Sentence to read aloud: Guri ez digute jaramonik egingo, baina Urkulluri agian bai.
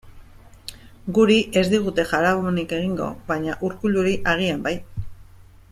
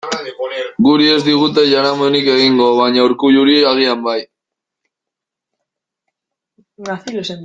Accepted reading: first